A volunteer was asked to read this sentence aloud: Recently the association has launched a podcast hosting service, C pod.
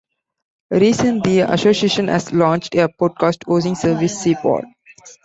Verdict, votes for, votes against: rejected, 0, 2